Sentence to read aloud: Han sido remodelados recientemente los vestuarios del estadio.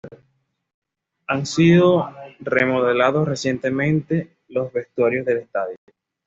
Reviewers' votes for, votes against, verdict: 2, 0, accepted